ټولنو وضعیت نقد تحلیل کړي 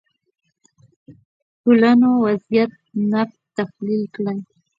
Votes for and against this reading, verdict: 2, 1, accepted